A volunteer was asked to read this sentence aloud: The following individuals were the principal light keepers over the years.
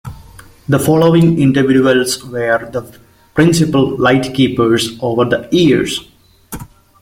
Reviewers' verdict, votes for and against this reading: rejected, 1, 2